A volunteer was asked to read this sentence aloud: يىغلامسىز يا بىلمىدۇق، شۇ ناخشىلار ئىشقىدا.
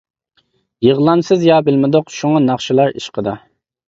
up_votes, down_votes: 0, 2